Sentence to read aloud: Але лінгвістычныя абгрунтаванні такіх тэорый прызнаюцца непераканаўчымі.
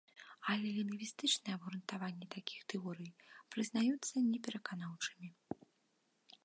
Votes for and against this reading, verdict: 1, 2, rejected